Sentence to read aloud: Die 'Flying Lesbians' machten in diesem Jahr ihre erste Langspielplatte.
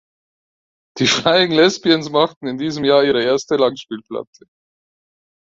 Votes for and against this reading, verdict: 2, 4, rejected